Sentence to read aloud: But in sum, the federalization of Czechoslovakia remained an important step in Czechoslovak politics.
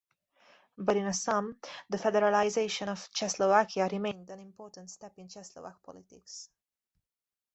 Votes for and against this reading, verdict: 0, 2, rejected